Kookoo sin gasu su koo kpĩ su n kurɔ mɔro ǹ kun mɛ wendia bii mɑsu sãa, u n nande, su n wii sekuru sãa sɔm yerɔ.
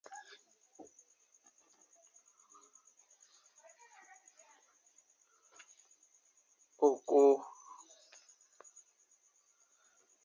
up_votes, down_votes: 0, 3